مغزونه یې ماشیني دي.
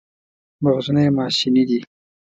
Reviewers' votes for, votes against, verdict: 2, 0, accepted